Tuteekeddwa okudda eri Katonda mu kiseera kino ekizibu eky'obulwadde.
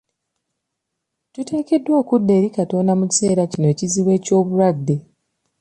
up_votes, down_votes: 2, 0